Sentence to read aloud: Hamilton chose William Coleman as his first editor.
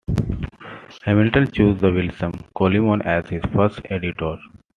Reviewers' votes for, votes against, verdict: 1, 2, rejected